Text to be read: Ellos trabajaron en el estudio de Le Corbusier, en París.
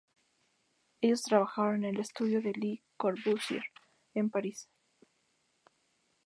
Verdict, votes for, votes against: accepted, 2, 0